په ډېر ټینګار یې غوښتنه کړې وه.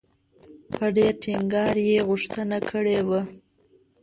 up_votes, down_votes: 1, 2